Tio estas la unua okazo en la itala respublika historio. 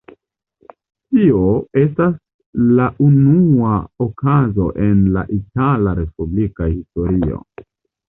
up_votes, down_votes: 2, 0